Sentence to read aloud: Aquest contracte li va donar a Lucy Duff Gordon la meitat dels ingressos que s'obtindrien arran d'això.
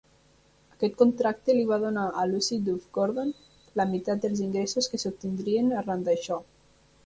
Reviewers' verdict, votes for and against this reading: rejected, 1, 2